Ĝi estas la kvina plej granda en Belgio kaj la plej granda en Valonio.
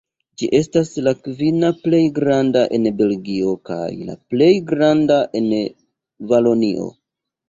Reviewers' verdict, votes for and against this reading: rejected, 1, 2